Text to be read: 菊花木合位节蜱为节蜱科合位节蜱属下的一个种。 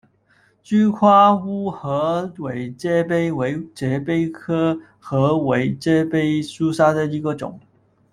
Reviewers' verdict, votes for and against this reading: rejected, 0, 2